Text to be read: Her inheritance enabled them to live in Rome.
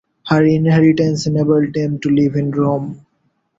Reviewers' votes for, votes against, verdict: 2, 0, accepted